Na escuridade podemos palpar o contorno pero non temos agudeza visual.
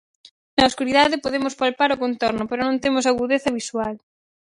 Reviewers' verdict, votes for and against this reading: accepted, 4, 0